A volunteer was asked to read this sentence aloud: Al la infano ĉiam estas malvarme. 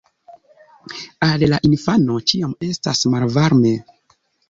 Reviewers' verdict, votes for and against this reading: accepted, 2, 0